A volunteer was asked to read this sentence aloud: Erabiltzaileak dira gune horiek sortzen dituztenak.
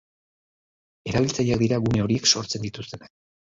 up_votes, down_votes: 0, 2